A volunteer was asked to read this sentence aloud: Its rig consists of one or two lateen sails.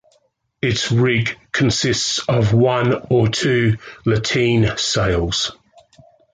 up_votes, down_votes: 2, 0